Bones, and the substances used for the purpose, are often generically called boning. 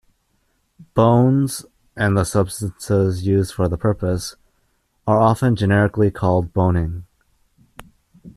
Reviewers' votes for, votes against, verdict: 2, 1, accepted